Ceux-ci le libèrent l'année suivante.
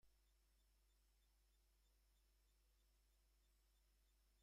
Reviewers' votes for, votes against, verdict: 0, 2, rejected